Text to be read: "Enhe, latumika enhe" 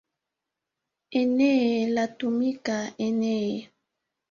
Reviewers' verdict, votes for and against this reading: rejected, 1, 2